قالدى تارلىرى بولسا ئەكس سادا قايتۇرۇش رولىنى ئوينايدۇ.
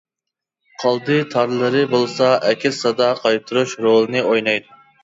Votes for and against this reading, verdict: 2, 0, accepted